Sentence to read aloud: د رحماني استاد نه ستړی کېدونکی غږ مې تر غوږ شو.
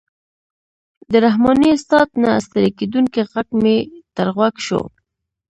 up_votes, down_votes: 1, 2